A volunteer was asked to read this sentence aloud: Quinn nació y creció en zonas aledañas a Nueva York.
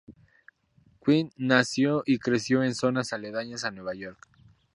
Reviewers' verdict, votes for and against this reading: rejected, 0, 2